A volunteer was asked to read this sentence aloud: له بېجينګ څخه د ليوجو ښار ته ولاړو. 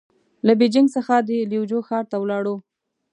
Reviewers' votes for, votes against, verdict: 2, 0, accepted